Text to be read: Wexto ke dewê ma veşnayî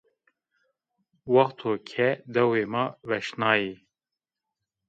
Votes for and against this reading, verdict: 0, 2, rejected